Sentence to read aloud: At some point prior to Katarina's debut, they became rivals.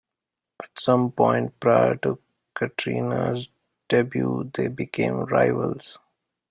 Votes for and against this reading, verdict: 1, 2, rejected